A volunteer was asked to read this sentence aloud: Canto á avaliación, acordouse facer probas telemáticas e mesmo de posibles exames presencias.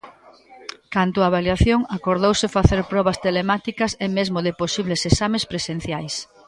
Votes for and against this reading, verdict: 0, 2, rejected